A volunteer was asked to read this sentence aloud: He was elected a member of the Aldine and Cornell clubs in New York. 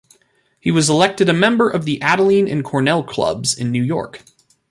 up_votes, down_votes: 1, 2